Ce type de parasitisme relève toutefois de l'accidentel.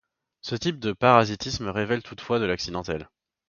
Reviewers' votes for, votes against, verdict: 0, 2, rejected